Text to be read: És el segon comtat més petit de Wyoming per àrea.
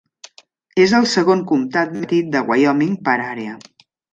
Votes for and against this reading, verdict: 0, 2, rejected